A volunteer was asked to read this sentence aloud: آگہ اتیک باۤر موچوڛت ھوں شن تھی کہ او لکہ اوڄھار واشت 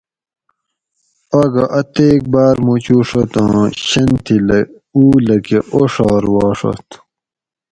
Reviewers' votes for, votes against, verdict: 2, 2, rejected